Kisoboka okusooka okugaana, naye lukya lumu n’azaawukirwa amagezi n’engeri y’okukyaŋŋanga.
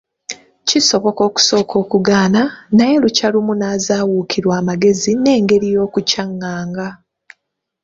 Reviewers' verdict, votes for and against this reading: accepted, 2, 1